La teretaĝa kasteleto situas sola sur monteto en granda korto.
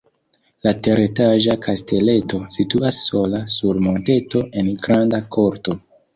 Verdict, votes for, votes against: accepted, 2, 0